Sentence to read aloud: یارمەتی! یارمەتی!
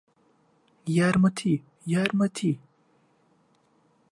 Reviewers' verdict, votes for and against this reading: accepted, 2, 0